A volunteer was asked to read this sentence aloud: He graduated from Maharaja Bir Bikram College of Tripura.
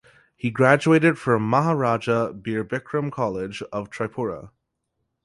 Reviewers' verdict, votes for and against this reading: accepted, 4, 0